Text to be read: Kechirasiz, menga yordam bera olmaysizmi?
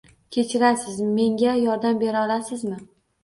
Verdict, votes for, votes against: rejected, 1, 2